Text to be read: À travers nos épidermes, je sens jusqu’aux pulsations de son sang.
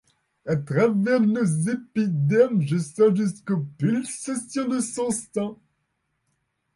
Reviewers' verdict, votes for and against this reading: rejected, 1, 2